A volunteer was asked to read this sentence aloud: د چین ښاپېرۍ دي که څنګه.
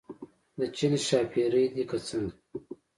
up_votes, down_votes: 2, 0